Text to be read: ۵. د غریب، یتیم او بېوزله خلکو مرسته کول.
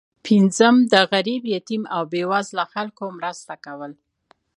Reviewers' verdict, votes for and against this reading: rejected, 0, 2